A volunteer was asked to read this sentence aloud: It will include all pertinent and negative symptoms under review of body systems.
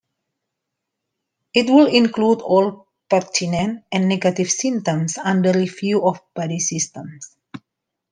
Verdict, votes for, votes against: accepted, 2, 1